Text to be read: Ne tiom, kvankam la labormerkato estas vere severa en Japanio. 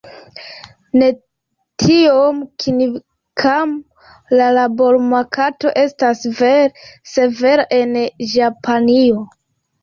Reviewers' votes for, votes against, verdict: 1, 2, rejected